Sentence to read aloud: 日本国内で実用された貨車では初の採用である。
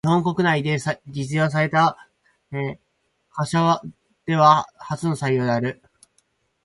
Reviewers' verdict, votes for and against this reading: accepted, 4, 0